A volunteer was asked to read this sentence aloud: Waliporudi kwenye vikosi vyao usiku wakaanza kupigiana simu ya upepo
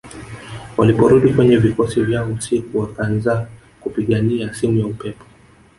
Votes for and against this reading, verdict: 1, 3, rejected